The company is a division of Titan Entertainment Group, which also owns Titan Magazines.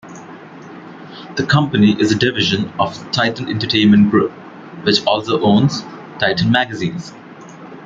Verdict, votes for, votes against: rejected, 1, 2